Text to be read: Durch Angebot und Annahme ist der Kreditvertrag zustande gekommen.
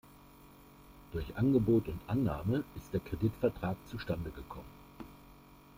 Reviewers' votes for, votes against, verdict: 2, 0, accepted